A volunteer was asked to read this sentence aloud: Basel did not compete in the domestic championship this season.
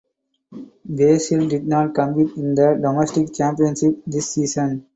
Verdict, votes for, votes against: accepted, 4, 2